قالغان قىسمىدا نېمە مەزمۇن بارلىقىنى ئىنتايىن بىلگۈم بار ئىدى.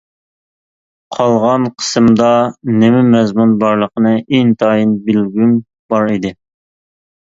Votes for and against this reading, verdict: 0, 2, rejected